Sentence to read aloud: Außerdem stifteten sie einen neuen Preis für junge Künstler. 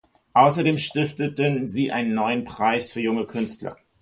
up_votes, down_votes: 2, 0